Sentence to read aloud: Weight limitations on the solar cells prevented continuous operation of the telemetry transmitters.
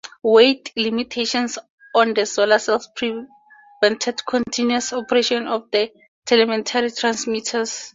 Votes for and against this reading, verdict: 2, 0, accepted